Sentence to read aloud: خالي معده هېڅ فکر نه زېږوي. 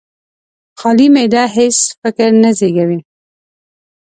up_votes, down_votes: 2, 0